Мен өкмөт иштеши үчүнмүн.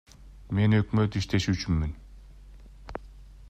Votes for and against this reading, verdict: 2, 0, accepted